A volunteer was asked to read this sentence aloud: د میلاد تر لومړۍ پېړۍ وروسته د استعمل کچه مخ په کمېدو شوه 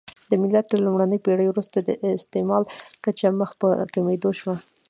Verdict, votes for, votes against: accepted, 2, 1